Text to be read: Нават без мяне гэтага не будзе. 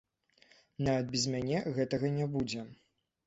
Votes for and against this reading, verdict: 0, 2, rejected